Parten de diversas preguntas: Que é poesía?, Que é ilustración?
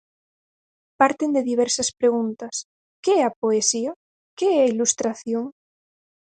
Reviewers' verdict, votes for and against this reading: rejected, 2, 4